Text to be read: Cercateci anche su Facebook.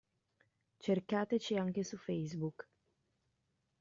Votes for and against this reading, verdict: 2, 1, accepted